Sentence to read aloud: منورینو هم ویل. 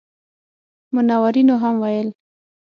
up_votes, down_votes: 6, 0